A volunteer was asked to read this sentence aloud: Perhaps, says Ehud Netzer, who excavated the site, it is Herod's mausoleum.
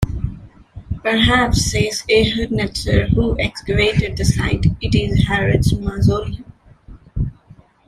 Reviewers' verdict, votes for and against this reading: rejected, 1, 2